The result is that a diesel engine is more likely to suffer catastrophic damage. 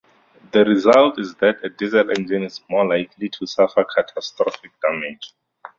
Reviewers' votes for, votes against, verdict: 2, 0, accepted